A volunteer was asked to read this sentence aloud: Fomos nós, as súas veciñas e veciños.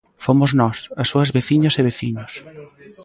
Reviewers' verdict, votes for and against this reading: rejected, 0, 2